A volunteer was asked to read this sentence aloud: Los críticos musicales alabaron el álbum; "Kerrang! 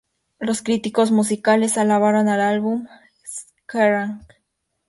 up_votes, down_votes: 0, 2